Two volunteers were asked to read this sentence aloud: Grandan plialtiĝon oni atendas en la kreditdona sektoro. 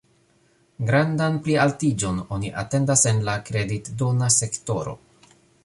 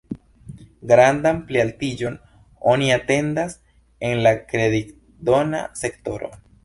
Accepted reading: first